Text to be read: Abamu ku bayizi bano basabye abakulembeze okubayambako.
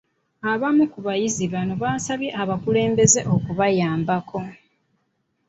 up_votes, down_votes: 2, 1